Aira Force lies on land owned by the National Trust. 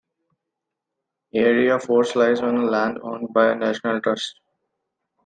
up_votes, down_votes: 2, 0